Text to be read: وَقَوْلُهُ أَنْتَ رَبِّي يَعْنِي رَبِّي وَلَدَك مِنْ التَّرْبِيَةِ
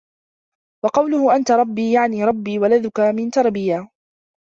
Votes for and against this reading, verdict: 0, 2, rejected